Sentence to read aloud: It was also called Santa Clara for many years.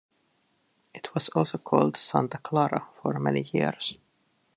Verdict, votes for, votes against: accepted, 2, 0